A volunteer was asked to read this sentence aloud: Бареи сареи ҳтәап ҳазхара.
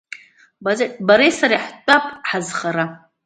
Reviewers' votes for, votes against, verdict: 0, 2, rejected